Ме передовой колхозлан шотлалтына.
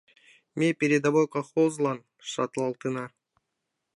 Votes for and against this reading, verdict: 1, 2, rejected